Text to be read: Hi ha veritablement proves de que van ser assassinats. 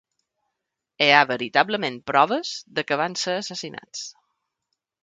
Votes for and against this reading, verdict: 2, 1, accepted